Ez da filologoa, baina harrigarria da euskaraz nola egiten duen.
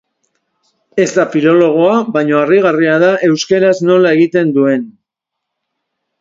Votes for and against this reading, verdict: 1, 2, rejected